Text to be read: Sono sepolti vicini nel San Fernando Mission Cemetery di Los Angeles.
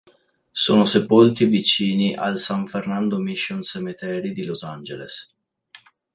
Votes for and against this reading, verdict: 2, 3, rejected